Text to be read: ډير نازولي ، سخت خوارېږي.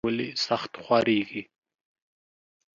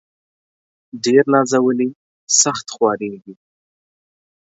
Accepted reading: second